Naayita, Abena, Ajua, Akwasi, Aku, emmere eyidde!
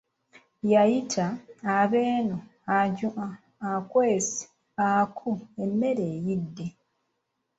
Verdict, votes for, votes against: rejected, 0, 2